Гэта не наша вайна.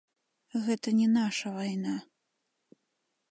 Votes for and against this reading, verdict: 1, 2, rejected